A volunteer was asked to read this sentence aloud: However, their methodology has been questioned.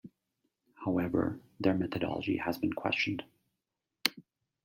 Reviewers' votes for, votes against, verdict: 2, 0, accepted